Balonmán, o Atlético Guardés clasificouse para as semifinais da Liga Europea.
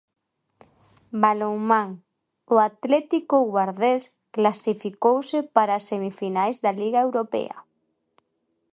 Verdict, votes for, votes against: accepted, 2, 0